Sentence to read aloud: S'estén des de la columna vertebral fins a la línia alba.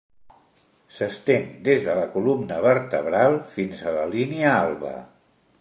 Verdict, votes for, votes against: accepted, 2, 0